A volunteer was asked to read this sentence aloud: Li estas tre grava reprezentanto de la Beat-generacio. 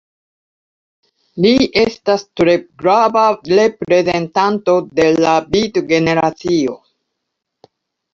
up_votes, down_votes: 2, 1